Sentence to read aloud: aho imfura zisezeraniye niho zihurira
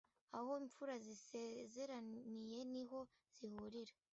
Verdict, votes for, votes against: rejected, 1, 2